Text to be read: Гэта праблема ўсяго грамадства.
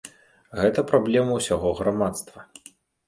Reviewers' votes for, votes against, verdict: 2, 0, accepted